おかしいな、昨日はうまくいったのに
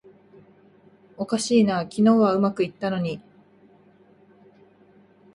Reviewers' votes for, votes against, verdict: 2, 0, accepted